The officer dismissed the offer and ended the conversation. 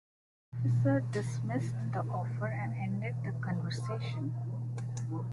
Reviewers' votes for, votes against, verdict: 1, 2, rejected